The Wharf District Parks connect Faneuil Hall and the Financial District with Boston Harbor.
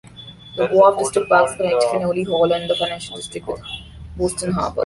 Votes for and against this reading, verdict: 0, 2, rejected